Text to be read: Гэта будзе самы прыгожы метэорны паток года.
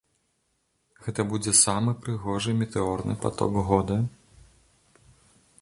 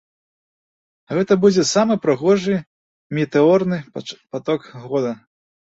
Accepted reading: first